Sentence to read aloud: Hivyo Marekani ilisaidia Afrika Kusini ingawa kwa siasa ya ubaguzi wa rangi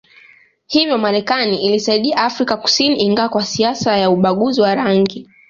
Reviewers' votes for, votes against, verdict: 2, 0, accepted